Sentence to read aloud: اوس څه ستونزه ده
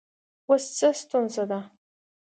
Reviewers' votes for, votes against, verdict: 2, 0, accepted